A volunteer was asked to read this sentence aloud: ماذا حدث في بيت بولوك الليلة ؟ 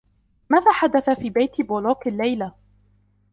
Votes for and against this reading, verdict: 2, 0, accepted